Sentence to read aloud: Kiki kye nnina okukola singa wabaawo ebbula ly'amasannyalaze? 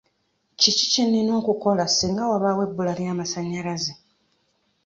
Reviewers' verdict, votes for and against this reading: accepted, 2, 1